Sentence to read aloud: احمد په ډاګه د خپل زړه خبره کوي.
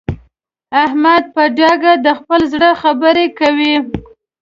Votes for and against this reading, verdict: 2, 0, accepted